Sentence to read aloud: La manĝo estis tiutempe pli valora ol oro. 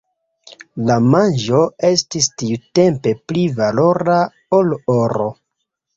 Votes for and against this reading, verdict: 1, 2, rejected